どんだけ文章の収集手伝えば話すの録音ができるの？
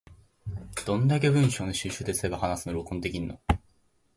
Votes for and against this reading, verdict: 2, 0, accepted